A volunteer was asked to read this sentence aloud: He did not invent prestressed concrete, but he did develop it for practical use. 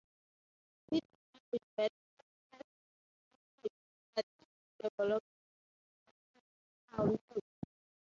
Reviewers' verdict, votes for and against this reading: rejected, 0, 3